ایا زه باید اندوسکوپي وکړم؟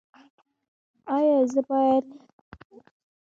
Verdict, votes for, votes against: rejected, 0, 2